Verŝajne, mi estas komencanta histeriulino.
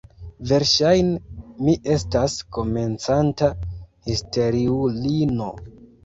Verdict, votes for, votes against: rejected, 0, 2